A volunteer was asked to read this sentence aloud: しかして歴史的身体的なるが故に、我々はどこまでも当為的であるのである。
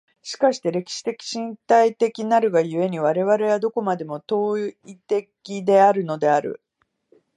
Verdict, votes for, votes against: rejected, 0, 2